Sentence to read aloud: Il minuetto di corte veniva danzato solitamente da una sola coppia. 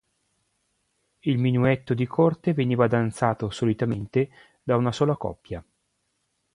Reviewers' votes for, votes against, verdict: 2, 0, accepted